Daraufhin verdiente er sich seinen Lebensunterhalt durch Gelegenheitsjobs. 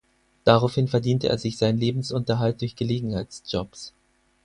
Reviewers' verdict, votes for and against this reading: accepted, 4, 0